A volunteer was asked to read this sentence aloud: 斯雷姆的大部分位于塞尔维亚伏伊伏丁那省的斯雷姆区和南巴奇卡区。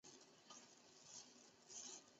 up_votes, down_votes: 0, 2